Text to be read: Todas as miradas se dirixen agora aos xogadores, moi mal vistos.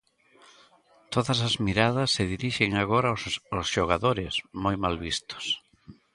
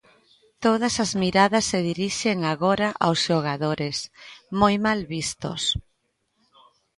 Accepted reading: second